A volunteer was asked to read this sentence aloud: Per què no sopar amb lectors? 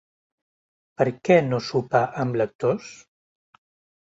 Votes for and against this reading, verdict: 2, 0, accepted